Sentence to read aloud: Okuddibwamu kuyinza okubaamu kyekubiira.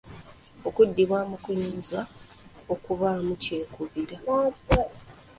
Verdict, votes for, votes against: accepted, 2, 1